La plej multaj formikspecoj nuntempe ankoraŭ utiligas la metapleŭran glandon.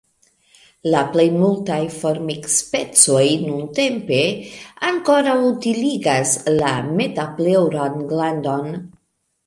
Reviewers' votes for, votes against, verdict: 3, 1, accepted